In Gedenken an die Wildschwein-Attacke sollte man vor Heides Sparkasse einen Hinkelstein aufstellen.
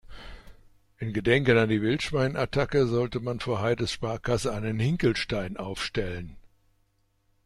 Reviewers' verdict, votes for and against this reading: accepted, 2, 0